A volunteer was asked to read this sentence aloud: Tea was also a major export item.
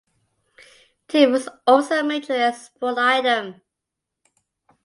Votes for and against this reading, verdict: 2, 1, accepted